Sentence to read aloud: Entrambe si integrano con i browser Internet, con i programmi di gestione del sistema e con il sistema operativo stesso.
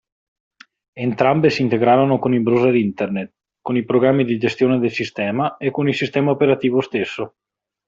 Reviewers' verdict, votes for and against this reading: rejected, 1, 2